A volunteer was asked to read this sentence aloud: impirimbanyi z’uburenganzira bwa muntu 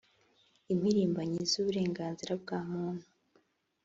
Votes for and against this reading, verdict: 2, 0, accepted